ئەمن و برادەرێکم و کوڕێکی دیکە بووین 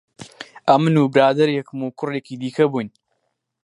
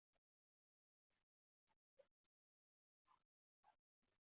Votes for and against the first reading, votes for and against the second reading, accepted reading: 4, 0, 1, 2, first